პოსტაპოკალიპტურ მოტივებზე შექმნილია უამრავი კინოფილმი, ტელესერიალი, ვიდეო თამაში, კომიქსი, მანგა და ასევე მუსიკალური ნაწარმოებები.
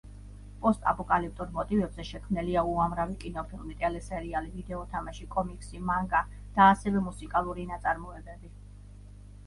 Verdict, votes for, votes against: rejected, 1, 2